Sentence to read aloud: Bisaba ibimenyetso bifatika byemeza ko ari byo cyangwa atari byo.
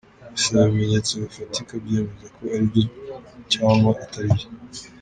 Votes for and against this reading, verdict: 0, 2, rejected